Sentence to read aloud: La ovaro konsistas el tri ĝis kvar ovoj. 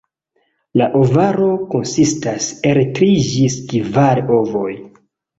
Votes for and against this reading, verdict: 1, 2, rejected